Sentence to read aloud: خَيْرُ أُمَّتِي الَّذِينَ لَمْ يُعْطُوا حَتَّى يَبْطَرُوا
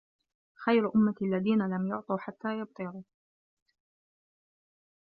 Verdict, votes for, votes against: rejected, 0, 2